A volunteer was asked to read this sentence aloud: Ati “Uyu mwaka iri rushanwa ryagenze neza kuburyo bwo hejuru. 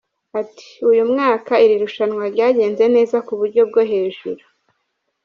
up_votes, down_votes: 1, 2